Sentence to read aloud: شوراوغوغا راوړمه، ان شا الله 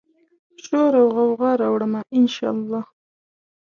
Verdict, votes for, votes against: accepted, 2, 1